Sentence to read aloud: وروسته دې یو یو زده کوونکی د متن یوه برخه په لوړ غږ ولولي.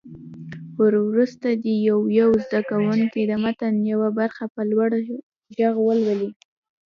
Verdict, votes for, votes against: rejected, 0, 2